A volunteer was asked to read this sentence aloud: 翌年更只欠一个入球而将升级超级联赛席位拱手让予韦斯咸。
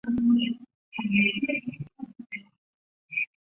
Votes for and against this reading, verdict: 0, 2, rejected